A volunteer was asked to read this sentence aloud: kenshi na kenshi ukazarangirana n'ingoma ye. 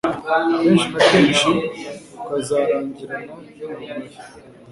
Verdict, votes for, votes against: rejected, 0, 2